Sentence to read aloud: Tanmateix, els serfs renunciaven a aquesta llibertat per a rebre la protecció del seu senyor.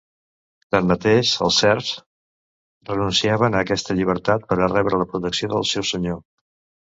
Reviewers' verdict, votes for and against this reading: accepted, 2, 0